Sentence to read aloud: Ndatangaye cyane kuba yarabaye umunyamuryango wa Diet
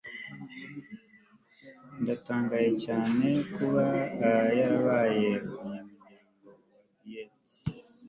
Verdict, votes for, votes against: rejected, 1, 2